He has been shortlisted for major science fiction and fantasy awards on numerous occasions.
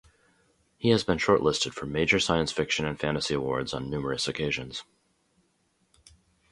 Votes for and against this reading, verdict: 4, 0, accepted